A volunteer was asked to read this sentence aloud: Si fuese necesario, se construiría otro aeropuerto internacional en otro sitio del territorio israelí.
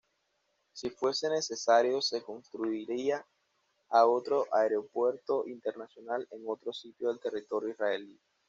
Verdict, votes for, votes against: rejected, 1, 2